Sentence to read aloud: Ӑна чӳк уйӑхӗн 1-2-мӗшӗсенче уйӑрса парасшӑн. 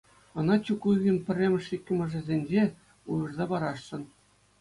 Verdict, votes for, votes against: rejected, 0, 2